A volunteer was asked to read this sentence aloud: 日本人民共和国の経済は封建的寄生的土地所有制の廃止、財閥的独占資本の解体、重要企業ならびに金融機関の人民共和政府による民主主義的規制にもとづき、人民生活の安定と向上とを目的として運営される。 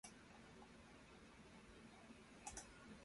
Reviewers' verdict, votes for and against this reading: rejected, 0, 2